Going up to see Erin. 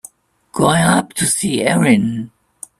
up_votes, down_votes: 0, 2